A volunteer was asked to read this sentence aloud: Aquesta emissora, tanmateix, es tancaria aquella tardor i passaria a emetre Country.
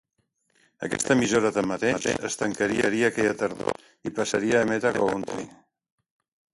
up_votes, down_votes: 0, 2